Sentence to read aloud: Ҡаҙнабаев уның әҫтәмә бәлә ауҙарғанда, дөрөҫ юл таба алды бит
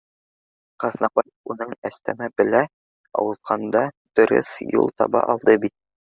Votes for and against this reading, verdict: 0, 2, rejected